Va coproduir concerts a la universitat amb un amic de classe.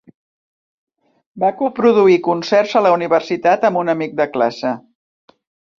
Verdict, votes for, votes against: accepted, 4, 0